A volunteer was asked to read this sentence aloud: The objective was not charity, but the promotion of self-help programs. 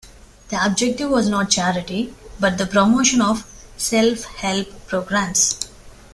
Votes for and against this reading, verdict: 2, 0, accepted